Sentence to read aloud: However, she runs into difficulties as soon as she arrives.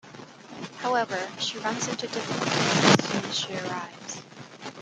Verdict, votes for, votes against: rejected, 1, 2